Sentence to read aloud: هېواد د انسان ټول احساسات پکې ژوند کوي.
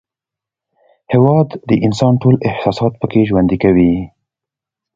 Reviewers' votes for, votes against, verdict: 2, 0, accepted